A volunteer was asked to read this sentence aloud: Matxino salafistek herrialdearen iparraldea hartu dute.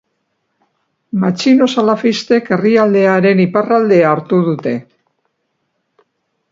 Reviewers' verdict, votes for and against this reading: accepted, 2, 0